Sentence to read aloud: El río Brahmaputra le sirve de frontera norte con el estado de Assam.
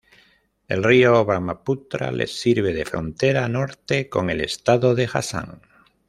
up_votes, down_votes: 1, 2